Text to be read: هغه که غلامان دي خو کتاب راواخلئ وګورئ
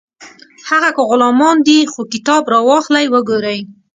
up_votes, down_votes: 2, 0